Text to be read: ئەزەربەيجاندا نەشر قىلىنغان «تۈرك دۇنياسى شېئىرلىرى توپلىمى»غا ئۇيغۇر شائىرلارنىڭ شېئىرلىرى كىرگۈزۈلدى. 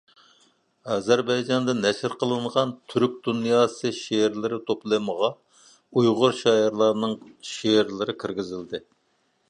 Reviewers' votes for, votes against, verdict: 2, 0, accepted